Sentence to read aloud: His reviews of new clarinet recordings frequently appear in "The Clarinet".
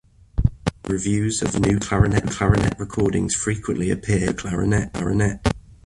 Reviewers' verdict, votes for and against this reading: rejected, 0, 2